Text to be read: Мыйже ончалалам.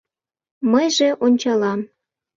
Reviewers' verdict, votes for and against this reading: rejected, 0, 2